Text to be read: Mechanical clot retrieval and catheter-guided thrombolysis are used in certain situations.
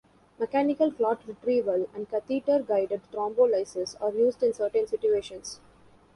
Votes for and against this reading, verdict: 0, 2, rejected